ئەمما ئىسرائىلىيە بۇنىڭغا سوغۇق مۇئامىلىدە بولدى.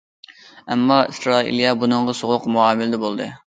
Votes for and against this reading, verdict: 2, 0, accepted